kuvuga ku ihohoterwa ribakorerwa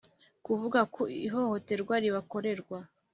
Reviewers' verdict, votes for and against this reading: accepted, 3, 0